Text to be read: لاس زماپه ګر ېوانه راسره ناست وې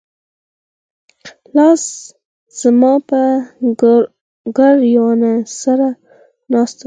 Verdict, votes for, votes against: rejected, 2, 4